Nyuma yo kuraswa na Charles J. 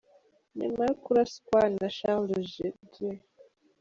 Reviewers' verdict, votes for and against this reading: rejected, 0, 2